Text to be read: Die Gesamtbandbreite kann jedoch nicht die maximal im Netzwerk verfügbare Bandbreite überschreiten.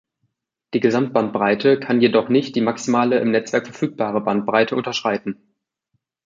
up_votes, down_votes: 0, 2